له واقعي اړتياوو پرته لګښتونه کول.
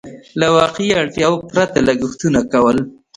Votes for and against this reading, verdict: 2, 0, accepted